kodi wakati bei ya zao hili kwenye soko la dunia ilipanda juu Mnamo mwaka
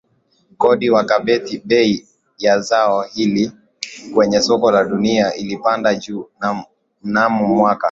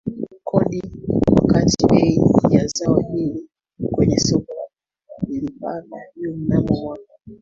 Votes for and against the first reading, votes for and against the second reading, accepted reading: 5, 0, 0, 3, first